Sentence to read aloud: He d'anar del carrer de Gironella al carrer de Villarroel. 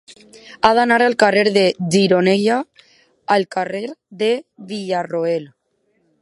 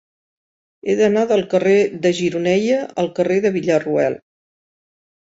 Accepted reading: second